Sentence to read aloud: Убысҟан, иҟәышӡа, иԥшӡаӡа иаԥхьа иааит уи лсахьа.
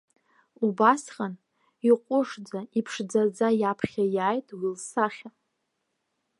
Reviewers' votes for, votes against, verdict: 2, 1, accepted